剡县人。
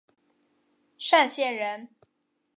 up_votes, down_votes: 5, 0